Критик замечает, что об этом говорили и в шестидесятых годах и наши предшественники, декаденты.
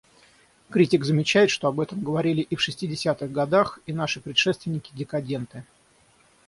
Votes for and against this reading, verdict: 6, 0, accepted